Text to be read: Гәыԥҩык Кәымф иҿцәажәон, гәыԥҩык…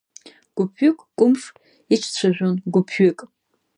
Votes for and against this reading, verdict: 0, 2, rejected